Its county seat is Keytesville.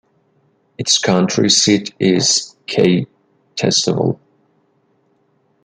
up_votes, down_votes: 2, 1